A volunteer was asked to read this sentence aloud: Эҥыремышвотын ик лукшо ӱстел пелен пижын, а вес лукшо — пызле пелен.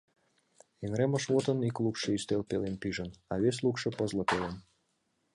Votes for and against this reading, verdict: 2, 0, accepted